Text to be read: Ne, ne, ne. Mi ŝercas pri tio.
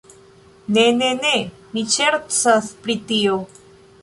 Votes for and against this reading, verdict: 1, 2, rejected